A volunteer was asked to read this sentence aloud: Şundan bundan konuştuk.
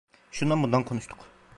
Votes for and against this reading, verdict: 1, 2, rejected